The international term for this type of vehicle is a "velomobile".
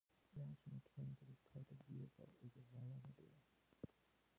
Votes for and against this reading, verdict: 0, 2, rejected